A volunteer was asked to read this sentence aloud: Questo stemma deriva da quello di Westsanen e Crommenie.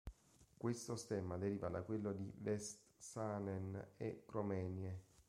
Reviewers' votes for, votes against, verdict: 1, 2, rejected